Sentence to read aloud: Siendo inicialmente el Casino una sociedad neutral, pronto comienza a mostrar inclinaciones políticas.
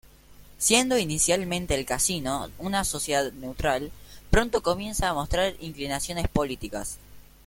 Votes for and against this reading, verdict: 2, 0, accepted